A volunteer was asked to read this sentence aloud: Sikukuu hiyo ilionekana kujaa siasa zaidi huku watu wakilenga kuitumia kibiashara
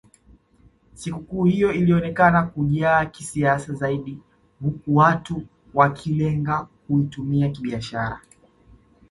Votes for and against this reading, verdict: 1, 2, rejected